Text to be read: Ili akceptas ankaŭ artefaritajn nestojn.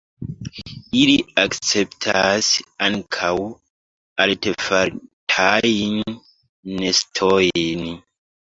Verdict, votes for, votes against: rejected, 0, 2